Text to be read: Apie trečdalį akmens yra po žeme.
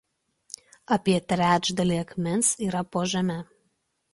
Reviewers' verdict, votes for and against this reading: accepted, 2, 0